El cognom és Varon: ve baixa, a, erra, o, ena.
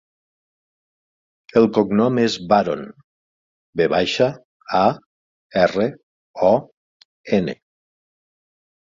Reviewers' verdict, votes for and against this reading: rejected, 3, 6